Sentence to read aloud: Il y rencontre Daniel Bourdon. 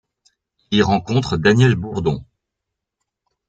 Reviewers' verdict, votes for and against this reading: rejected, 0, 2